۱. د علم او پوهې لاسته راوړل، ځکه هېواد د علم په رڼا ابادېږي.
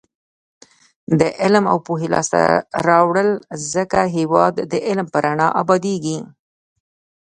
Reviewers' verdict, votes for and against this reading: rejected, 0, 2